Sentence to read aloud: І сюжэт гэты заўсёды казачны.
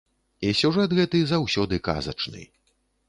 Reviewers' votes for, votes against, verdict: 3, 0, accepted